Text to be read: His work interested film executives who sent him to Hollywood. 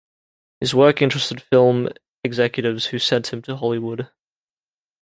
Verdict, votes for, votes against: accepted, 2, 0